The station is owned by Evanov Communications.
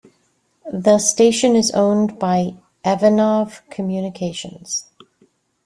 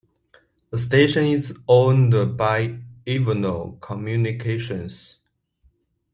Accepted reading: first